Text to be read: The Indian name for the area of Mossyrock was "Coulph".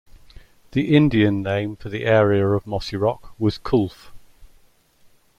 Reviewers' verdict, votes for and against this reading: accepted, 2, 0